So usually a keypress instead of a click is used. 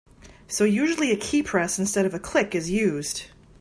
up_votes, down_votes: 2, 0